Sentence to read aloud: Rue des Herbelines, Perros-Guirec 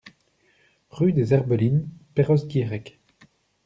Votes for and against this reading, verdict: 2, 0, accepted